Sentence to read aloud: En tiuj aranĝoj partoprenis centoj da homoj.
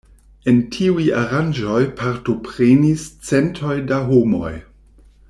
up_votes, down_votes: 2, 0